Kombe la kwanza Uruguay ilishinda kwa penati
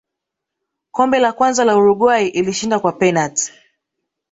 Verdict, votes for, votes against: rejected, 1, 2